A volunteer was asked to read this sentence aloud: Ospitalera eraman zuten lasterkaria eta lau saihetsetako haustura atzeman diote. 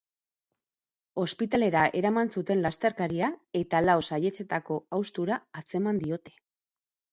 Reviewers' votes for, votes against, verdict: 2, 2, rejected